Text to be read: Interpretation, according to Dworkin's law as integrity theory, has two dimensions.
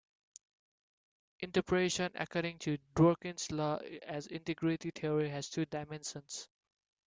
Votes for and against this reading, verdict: 0, 3, rejected